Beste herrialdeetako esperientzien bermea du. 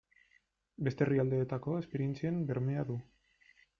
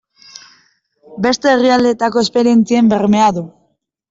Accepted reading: second